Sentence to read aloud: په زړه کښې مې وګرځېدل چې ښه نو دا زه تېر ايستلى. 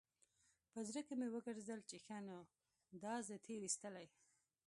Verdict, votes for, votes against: rejected, 0, 2